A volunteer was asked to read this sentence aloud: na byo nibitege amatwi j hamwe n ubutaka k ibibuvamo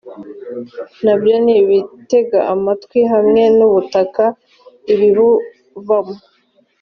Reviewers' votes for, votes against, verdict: 2, 0, accepted